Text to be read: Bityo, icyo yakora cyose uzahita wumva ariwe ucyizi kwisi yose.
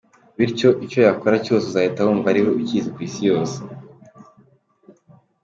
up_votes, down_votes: 2, 0